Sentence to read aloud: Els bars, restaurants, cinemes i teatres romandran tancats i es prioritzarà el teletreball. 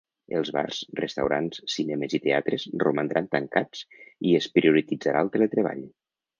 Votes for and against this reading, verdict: 1, 2, rejected